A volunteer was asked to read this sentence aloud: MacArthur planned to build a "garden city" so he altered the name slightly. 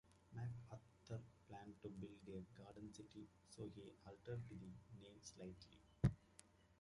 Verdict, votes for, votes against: rejected, 0, 2